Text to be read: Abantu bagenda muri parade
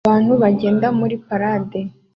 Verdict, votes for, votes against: accepted, 2, 0